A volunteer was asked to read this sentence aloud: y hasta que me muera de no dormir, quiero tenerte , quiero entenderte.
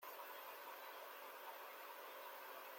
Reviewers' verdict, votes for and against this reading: rejected, 0, 2